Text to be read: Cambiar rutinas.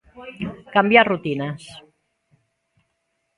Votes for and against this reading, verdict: 2, 1, accepted